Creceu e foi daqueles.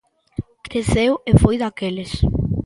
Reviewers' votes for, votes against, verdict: 2, 0, accepted